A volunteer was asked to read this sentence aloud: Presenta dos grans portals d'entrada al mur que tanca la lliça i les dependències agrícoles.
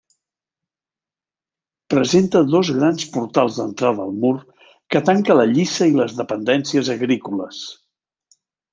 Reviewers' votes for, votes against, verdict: 2, 0, accepted